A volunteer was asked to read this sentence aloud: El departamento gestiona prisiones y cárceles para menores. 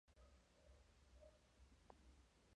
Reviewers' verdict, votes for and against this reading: rejected, 0, 2